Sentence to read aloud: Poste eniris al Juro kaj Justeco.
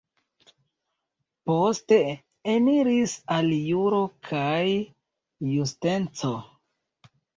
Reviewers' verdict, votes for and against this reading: rejected, 0, 2